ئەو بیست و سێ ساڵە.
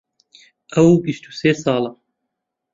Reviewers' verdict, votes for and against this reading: accepted, 2, 0